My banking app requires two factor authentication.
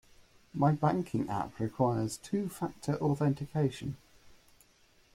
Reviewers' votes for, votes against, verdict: 2, 0, accepted